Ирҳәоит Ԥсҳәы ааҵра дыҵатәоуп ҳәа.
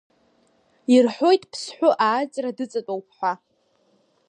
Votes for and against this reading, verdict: 2, 0, accepted